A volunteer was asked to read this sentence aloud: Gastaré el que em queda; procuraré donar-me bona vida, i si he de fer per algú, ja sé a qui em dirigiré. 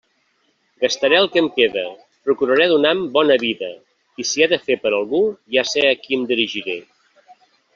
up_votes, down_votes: 1, 2